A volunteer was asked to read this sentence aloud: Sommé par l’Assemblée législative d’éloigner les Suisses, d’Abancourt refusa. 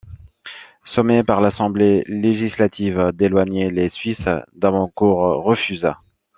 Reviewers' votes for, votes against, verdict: 2, 0, accepted